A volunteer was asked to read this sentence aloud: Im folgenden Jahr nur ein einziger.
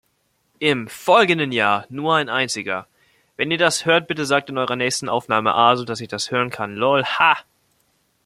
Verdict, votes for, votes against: rejected, 0, 2